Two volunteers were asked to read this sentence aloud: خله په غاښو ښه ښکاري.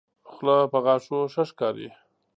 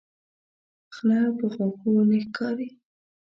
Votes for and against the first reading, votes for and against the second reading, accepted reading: 2, 0, 0, 2, first